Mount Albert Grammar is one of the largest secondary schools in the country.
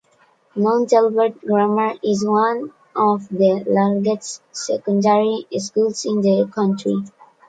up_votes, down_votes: 2, 0